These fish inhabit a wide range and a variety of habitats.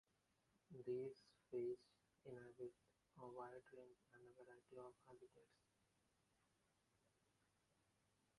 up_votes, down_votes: 0, 2